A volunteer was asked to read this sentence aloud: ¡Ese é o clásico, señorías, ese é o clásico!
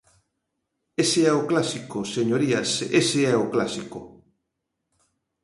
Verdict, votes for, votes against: accepted, 2, 0